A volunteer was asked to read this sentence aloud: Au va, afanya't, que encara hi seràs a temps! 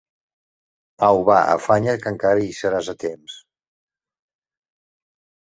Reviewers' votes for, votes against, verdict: 2, 0, accepted